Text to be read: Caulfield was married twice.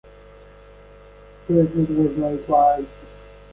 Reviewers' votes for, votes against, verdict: 1, 2, rejected